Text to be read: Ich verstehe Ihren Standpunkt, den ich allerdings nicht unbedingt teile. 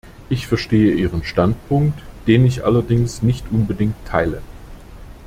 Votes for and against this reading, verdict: 2, 0, accepted